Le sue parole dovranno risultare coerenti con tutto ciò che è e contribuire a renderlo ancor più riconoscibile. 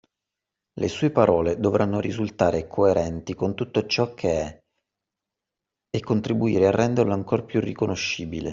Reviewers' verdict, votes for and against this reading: accepted, 2, 0